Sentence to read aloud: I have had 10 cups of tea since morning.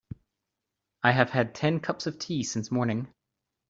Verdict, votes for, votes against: rejected, 0, 2